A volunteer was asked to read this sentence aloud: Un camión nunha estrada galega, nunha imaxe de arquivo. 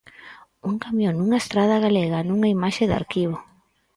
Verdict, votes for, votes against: accepted, 4, 0